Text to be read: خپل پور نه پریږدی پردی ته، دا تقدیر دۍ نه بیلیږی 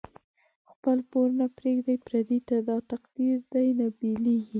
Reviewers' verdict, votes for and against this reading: accepted, 3, 0